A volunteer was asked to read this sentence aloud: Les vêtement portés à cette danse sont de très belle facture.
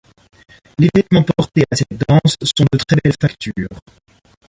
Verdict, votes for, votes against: accepted, 2, 0